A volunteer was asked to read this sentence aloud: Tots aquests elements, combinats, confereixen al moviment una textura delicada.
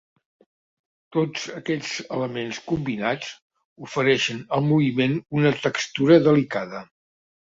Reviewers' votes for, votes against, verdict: 1, 2, rejected